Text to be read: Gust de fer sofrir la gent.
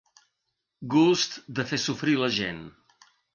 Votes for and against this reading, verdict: 3, 0, accepted